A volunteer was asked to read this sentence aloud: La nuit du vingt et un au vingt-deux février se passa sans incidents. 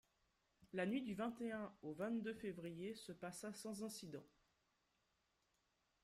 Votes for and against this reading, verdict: 2, 0, accepted